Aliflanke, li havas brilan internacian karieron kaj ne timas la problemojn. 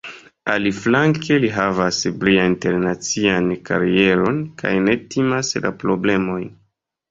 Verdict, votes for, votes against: rejected, 1, 2